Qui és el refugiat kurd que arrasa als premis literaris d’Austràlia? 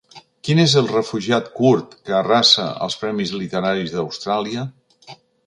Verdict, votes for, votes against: accepted, 3, 0